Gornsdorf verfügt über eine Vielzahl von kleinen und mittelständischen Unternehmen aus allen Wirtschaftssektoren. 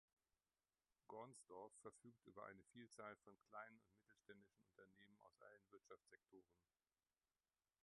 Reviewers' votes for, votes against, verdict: 0, 2, rejected